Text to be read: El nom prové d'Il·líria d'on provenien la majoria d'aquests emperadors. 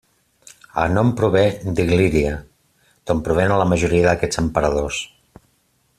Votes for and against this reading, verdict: 1, 2, rejected